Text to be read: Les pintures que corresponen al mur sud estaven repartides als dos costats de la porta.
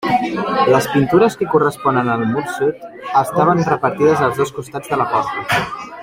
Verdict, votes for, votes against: accepted, 2, 1